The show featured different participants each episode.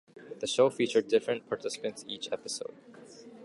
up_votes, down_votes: 2, 0